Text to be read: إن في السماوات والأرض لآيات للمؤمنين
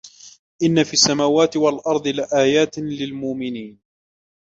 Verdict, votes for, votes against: accepted, 2, 0